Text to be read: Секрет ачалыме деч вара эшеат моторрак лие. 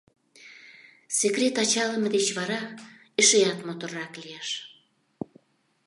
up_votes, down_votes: 0, 2